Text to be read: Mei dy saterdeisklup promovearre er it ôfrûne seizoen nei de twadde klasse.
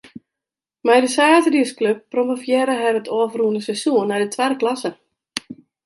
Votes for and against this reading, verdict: 1, 2, rejected